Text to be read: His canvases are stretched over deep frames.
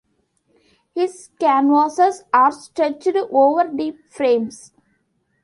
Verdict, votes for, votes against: rejected, 0, 2